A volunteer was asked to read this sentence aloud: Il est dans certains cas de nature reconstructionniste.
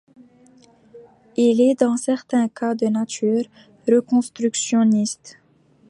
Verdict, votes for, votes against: accepted, 2, 0